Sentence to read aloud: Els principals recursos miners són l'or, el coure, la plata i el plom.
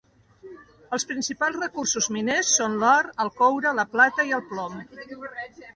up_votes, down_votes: 2, 0